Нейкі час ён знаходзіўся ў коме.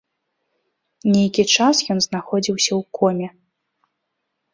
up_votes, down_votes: 2, 0